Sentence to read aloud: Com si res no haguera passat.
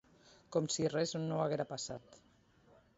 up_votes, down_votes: 2, 1